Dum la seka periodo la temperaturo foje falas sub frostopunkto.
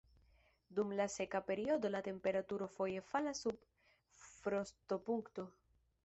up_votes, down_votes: 0, 2